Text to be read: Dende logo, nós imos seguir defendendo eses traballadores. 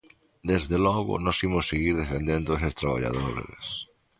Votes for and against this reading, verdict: 0, 2, rejected